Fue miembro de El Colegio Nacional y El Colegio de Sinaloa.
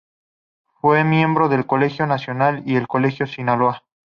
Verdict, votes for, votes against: accepted, 2, 0